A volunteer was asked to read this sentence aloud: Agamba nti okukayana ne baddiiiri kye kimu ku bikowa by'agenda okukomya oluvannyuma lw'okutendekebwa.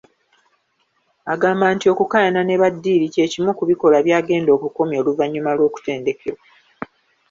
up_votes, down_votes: 1, 2